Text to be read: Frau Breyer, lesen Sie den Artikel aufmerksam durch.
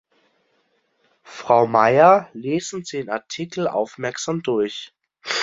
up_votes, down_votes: 0, 2